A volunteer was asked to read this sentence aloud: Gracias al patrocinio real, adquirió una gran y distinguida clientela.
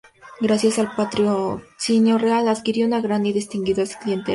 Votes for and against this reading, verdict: 0, 2, rejected